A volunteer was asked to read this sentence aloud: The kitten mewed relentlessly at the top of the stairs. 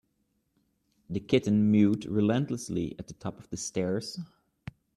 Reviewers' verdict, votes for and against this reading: accepted, 2, 0